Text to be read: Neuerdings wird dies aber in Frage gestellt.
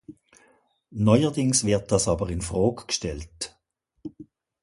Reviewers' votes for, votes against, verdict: 1, 2, rejected